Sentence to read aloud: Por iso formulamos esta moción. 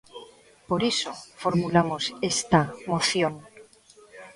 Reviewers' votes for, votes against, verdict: 1, 2, rejected